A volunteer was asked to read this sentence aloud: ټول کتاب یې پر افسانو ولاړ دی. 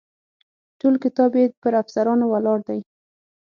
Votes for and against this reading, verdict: 3, 6, rejected